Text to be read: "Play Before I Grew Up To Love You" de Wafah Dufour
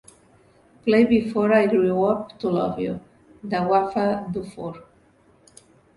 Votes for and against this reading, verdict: 3, 0, accepted